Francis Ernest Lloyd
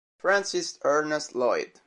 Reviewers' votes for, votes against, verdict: 2, 1, accepted